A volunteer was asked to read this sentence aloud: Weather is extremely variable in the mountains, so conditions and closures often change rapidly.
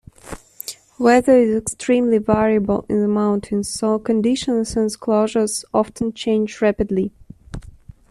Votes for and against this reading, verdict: 2, 0, accepted